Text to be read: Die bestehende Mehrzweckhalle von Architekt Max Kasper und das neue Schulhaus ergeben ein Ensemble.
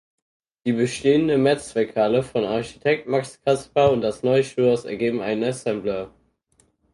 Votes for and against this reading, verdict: 2, 4, rejected